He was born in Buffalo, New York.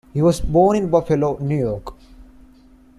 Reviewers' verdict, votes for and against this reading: accepted, 2, 0